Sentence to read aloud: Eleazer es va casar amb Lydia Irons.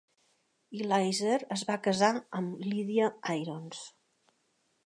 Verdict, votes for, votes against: accepted, 3, 0